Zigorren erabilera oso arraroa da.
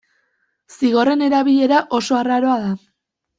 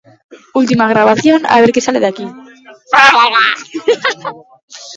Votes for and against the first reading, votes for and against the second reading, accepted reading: 2, 0, 0, 2, first